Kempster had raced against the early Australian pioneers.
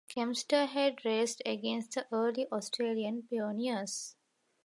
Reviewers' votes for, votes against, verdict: 1, 2, rejected